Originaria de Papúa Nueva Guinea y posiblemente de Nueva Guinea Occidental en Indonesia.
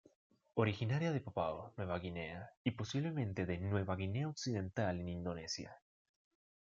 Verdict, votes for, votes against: rejected, 1, 2